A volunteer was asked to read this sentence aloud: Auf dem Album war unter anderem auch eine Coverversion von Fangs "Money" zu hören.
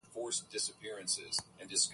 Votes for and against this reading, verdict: 0, 4, rejected